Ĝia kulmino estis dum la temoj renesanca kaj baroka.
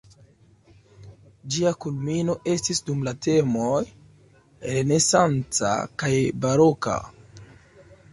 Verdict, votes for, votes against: rejected, 1, 2